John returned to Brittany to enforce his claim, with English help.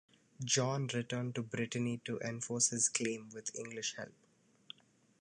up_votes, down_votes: 2, 0